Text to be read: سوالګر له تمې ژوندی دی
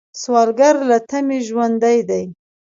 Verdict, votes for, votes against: accepted, 2, 0